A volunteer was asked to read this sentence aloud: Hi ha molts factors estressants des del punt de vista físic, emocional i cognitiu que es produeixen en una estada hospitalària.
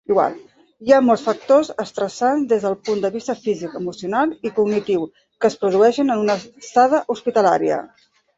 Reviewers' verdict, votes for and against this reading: rejected, 0, 2